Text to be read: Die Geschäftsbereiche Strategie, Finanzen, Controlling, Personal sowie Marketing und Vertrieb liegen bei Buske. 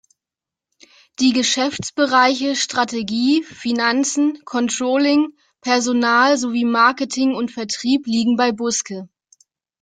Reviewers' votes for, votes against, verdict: 2, 0, accepted